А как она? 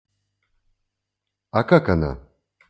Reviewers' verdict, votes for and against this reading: accepted, 2, 0